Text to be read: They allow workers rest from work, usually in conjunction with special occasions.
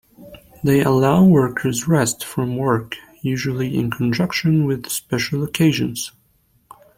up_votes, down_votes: 0, 2